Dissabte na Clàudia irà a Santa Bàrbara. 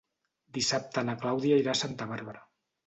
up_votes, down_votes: 2, 0